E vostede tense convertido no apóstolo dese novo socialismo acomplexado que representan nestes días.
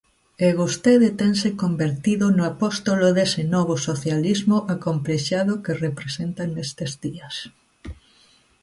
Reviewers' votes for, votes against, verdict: 2, 1, accepted